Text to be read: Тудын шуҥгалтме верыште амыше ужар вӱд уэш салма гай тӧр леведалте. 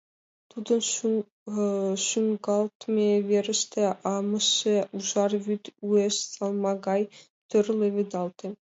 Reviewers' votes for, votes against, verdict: 0, 2, rejected